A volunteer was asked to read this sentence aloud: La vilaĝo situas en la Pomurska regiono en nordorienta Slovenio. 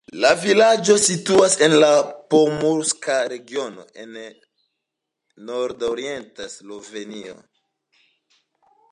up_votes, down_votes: 2, 0